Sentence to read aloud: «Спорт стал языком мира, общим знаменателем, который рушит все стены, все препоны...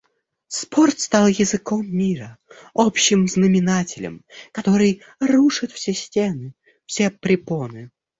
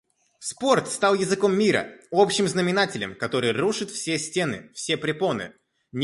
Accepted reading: first